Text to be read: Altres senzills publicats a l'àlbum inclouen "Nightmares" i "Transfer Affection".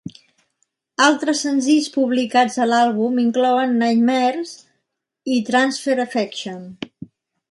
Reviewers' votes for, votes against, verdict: 2, 0, accepted